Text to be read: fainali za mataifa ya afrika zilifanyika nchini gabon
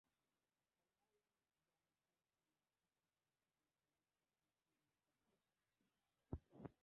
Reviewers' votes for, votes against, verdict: 0, 2, rejected